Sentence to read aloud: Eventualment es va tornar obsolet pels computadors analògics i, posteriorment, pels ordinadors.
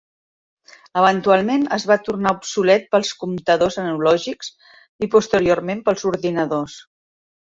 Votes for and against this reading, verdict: 0, 2, rejected